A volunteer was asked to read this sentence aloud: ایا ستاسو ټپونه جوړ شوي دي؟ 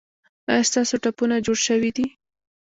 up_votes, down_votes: 2, 0